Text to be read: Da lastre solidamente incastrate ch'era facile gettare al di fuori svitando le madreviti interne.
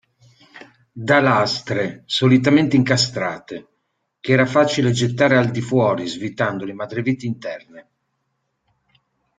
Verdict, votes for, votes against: rejected, 1, 2